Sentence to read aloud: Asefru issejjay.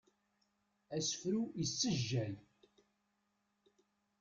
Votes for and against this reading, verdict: 2, 0, accepted